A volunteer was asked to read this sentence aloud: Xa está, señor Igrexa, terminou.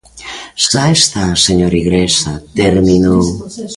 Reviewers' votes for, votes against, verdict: 0, 2, rejected